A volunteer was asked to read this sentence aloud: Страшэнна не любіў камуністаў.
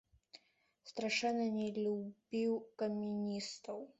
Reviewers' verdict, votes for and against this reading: rejected, 1, 2